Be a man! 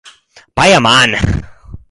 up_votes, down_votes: 2, 4